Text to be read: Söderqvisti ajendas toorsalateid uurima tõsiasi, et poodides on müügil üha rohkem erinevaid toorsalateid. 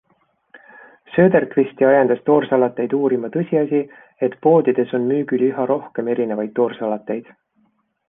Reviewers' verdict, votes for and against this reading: accepted, 2, 1